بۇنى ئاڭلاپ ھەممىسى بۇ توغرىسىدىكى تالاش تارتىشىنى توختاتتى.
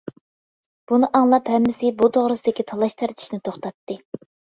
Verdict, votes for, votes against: accepted, 2, 0